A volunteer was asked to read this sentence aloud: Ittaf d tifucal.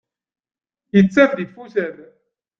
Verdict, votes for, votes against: accepted, 2, 1